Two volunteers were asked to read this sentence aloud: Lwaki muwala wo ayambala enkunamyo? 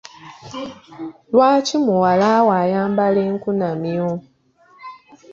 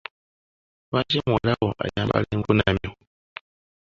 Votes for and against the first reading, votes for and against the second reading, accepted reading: 2, 0, 0, 2, first